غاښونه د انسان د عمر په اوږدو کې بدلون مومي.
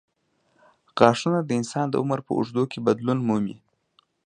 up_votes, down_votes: 2, 0